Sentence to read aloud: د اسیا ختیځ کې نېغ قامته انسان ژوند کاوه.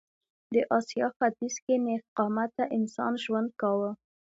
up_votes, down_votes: 2, 0